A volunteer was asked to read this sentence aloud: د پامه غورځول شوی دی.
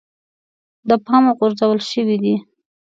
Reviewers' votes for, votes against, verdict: 1, 2, rejected